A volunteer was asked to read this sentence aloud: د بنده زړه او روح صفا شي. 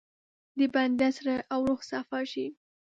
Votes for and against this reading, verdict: 2, 0, accepted